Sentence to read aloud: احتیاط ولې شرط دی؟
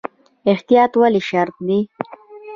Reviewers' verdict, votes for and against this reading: rejected, 1, 2